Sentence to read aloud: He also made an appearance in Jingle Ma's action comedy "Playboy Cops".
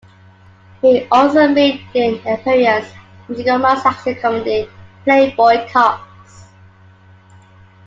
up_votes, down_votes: 2, 1